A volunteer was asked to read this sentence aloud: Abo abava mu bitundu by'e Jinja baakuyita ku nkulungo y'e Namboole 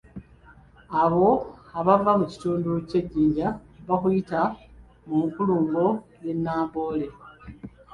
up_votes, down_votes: 0, 2